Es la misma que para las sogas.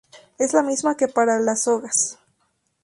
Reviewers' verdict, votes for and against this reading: accepted, 2, 0